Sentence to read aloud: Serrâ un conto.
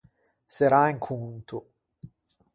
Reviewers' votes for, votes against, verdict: 4, 0, accepted